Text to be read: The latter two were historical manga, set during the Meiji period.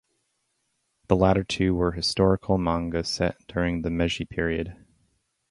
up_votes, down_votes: 2, 0